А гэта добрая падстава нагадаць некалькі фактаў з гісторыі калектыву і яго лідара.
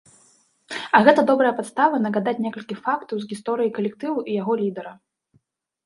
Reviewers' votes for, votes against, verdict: 0, 2, rejected